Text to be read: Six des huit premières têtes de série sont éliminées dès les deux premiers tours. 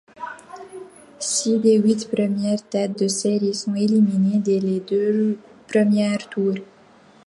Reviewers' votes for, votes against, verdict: 2, 0, accepted